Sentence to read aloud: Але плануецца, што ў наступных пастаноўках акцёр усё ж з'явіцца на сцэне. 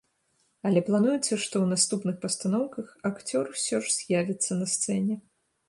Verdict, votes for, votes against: accepted, 2, 0